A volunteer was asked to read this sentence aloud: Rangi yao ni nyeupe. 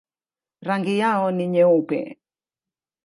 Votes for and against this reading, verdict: 2, 0, accepted